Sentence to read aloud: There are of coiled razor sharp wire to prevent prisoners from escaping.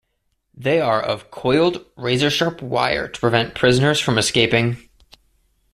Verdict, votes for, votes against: rejected, 1, 2